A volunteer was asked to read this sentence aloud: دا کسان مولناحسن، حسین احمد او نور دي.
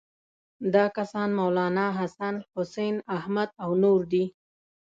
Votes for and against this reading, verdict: 2, 0, accepted